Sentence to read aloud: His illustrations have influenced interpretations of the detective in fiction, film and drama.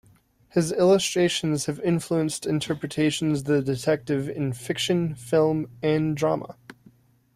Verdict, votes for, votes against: rejected, 0, 2